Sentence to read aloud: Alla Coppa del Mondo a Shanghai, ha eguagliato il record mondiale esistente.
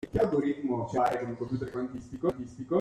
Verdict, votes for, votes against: rejected, 0, 2